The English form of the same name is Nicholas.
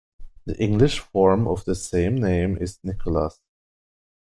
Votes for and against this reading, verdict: 2, 0, accepted